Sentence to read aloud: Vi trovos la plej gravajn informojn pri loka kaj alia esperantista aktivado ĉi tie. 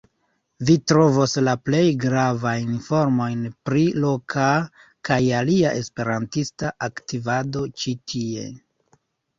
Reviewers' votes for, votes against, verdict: 2, 1, accepted